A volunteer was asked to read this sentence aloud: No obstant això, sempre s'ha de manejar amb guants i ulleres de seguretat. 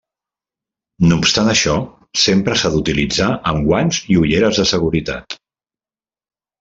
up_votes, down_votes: 0, 2